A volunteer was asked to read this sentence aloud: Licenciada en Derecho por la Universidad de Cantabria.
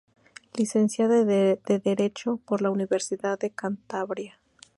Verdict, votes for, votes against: rejected, 0, 2